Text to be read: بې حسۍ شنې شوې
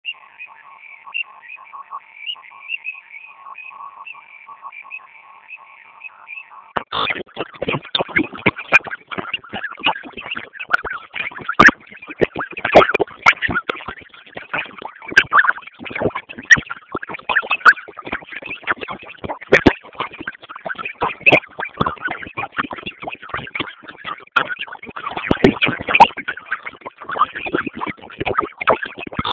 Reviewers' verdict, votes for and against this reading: rejected, 0, 2